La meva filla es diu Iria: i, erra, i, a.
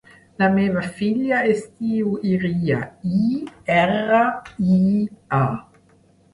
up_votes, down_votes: 3, 0